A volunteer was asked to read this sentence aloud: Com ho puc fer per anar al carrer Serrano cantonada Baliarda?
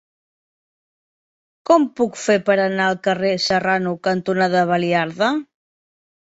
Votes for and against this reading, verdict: 1, 3, rejected